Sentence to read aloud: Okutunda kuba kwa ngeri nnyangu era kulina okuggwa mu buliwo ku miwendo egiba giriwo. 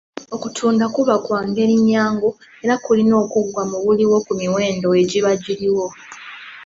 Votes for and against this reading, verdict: 2, 0, accepted